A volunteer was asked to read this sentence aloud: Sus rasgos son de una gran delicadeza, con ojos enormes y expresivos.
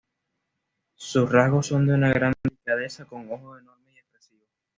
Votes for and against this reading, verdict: 1, 2, rejected